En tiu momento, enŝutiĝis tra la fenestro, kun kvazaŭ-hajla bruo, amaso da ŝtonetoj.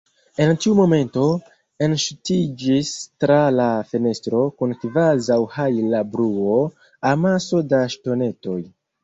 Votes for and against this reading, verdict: 0, 2, rejected